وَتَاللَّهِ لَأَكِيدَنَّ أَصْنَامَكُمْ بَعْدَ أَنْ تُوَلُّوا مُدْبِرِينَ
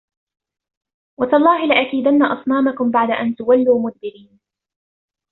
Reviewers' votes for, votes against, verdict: 1, 2, rejected